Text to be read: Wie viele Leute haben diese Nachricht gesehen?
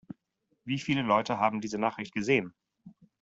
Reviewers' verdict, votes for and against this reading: rejected, 1, 2